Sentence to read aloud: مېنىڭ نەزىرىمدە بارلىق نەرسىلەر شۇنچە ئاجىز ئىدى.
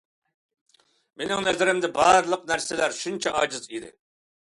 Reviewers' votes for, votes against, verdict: 2, 0, accepted